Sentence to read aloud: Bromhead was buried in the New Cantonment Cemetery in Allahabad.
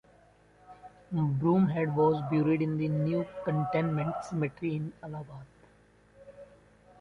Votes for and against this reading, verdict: 1, 2, rejected